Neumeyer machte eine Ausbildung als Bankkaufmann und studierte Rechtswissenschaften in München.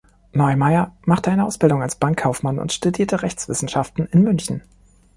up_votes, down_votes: 3, 0